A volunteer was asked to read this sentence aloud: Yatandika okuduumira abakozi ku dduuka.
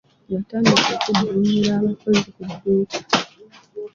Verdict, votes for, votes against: rejected, 1, 2